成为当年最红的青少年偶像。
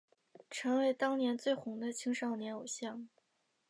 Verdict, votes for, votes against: accepted, 3, 0